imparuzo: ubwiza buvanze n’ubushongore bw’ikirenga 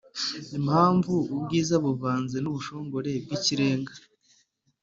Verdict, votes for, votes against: rejected, 1, 3